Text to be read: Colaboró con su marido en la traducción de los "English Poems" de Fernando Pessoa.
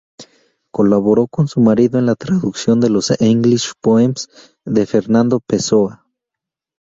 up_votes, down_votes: 0, 2